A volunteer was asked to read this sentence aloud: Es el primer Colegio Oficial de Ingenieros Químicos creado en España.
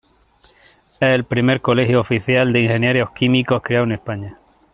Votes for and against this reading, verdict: 1, 2, rejected